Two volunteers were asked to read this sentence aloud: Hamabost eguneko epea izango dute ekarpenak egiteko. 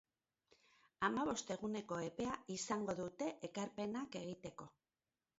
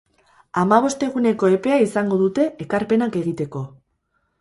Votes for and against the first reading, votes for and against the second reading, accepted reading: 2, 0, 0, 2, first